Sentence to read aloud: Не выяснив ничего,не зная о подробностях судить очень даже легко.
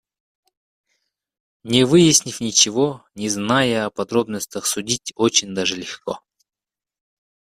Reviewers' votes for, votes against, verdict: 2, 0, accepted